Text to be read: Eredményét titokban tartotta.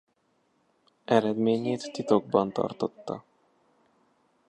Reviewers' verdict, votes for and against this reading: rejected, 1, 2